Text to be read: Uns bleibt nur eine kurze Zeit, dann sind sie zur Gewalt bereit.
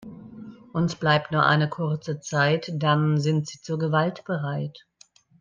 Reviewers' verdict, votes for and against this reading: accepted, 3, 0